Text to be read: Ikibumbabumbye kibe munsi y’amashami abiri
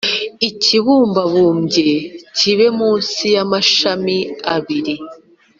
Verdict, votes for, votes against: accepted, 2, 0